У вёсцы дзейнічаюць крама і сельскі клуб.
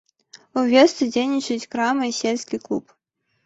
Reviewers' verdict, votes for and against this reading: accepted, 2, 0